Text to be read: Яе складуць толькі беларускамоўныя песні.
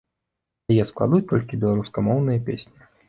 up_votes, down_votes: 2, 0